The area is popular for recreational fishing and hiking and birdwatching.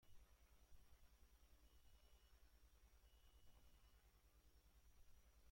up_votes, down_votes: 0, 2